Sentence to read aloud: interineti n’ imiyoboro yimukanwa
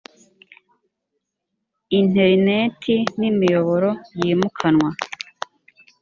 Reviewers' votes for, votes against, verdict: 2, 0, accepted